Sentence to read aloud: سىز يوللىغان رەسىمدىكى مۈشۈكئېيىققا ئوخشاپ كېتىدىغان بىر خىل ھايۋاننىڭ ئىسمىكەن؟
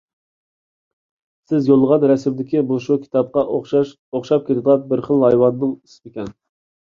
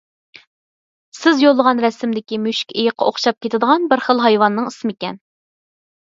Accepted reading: second